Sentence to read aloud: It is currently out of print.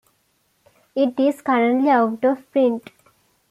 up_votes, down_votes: 2, 0